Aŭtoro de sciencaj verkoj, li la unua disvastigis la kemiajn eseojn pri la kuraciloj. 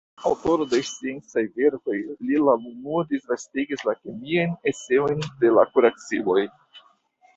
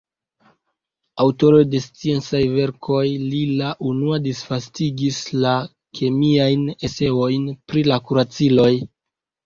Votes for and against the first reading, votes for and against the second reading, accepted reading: 2, 0, 0, 2, first